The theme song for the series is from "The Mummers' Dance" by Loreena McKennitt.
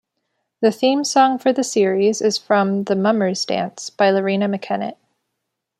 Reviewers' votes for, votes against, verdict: 2, 0, accepted